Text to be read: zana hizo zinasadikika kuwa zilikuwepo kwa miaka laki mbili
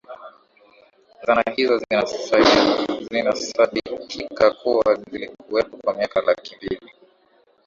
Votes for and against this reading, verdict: 0, 2, rejected